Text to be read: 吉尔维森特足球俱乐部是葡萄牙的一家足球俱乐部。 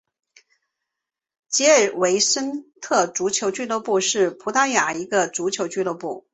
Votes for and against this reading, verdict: 3, 0, accepted